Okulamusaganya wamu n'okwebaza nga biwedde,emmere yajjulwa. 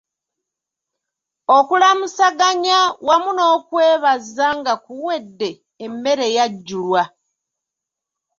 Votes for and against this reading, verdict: 2, 0, accepted